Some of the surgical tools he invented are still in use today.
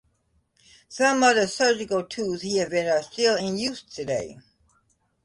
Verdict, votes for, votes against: accepted, 2, 0